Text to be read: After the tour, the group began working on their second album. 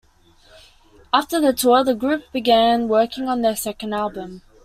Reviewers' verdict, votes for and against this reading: accepted, 2, 0